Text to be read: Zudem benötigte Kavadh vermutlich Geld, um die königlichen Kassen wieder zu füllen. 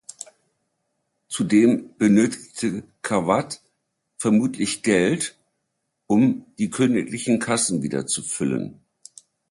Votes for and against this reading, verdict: 2, 0, accepted